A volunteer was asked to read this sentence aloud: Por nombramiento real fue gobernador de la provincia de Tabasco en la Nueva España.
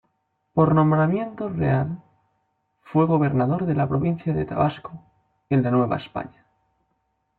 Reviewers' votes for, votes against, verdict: 2, 1, accepted